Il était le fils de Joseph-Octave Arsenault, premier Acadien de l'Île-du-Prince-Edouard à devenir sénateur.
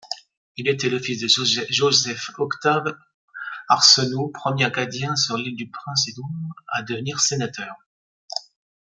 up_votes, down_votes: 1, 2